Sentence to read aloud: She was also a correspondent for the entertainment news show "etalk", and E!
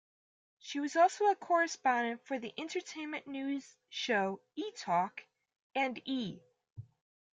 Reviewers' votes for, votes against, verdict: 2, 0, accepted